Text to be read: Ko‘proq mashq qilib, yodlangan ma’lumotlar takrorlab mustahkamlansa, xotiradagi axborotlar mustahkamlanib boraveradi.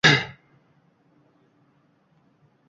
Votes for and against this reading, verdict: 1, 2, rejected